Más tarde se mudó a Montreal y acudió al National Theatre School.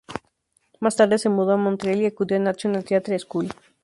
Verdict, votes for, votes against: rejected, 2, 2